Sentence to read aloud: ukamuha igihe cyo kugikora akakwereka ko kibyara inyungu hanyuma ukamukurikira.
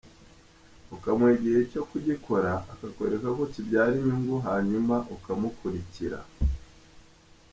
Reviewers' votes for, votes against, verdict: 2, 1, accepted